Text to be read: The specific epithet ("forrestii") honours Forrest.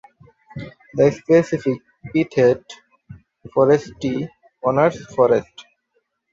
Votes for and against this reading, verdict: 2, 0, accepted